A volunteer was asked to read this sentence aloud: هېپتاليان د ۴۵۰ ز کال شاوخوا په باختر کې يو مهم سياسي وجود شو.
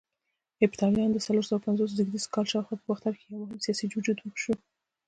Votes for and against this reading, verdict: 0, 2, rejected